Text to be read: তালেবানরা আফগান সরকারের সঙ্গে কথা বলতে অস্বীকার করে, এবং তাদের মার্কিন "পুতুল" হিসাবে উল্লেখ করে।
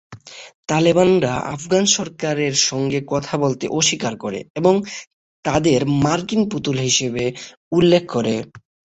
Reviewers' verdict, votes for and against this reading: rejected, 3, 3